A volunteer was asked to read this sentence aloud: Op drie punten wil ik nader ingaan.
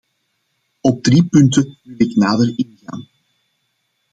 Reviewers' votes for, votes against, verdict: 1, 2, rejected